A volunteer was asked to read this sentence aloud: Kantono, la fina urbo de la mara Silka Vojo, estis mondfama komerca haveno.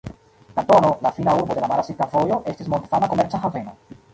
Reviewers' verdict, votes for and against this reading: rejected, 0, 2